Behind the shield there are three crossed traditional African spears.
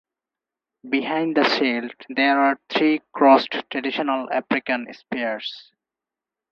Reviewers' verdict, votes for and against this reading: rejected, 2, 4